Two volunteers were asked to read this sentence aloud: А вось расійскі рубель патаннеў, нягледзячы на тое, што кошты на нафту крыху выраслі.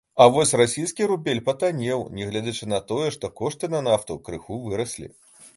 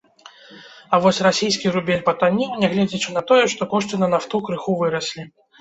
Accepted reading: first